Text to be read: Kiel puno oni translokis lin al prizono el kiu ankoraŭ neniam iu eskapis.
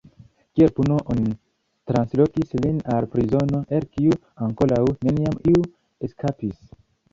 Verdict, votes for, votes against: rejected, 1, 2